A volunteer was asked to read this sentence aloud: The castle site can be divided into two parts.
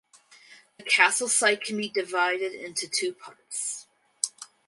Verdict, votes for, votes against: accepted, 4, 2